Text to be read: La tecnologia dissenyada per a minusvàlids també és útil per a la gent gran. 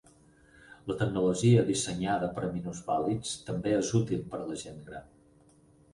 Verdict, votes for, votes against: rejected, 2, 4